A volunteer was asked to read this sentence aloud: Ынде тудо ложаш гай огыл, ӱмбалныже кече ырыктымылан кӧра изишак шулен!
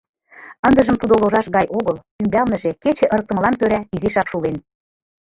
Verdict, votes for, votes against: rejected, 1, 2